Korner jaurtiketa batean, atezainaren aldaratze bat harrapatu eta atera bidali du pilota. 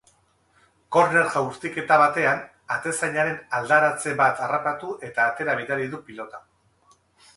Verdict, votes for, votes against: accepted, 2, 0